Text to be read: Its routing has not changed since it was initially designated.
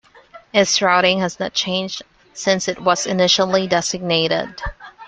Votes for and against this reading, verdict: 2, 0, accepted